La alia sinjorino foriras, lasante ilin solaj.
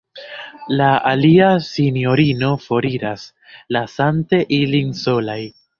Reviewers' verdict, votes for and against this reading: accepted, 2, 0